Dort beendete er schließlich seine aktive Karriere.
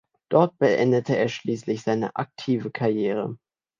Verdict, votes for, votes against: accepted, 2, 0